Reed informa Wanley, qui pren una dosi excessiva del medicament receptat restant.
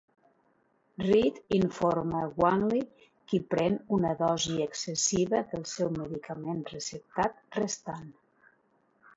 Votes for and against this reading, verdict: 1, 2, rejected